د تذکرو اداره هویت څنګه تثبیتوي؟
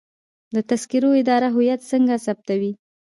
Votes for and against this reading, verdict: 2, 0, accepted